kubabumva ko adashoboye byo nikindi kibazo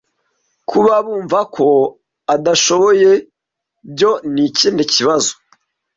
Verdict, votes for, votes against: accepted, 2, 0